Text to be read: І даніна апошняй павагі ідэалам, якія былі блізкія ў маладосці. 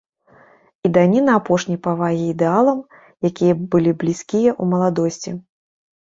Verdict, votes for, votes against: rejected, 0, 2